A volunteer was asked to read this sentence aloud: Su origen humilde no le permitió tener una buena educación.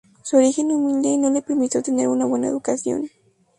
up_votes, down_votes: 0, 2